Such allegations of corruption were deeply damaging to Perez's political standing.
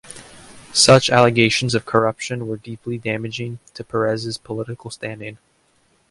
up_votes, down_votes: 2, 0